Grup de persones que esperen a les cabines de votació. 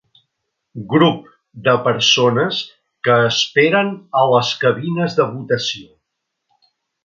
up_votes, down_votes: 3, 0